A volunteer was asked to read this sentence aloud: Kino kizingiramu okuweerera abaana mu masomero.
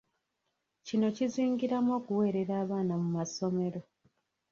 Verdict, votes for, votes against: rejected, 0, 2